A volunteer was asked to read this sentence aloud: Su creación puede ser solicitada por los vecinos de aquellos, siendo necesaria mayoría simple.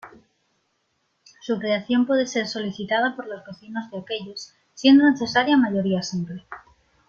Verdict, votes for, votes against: accepted, 2, 0